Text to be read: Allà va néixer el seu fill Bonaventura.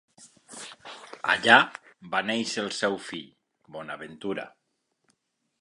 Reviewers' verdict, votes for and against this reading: accepted, 2, 0